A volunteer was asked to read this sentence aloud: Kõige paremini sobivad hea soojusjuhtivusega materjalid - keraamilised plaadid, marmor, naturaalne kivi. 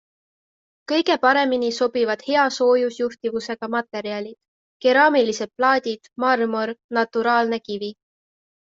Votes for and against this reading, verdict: 2, 0, accepted